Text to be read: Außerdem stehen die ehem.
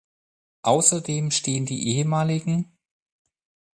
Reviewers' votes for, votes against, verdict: 2, 4, rejected